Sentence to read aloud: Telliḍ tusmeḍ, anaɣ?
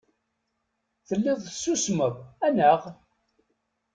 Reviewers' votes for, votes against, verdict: 0, 2, rejected